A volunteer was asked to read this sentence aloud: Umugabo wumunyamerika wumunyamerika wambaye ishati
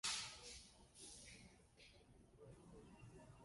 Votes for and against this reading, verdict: 0, 2, rejected